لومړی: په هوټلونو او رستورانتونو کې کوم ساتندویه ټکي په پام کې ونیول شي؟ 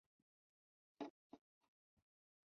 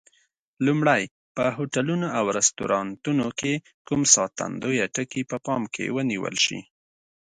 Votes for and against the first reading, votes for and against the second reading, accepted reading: 0, 2, 2, 0, second